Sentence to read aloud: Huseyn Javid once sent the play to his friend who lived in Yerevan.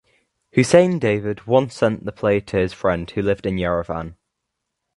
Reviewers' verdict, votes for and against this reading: rejected, 1, 2